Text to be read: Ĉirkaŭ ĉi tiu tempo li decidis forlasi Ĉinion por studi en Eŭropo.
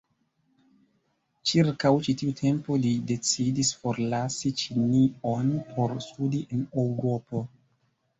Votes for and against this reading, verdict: 0, 2, rejected